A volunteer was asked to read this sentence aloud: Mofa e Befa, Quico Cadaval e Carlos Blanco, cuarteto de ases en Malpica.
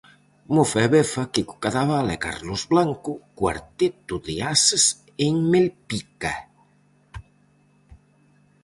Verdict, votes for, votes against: rejected, 2, 2